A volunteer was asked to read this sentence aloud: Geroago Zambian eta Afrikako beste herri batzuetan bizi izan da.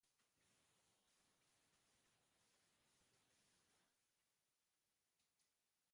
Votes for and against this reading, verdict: 0, 2, rejected